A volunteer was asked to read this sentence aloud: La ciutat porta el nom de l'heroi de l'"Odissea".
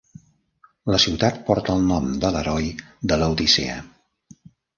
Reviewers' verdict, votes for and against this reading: rejected, 0, 2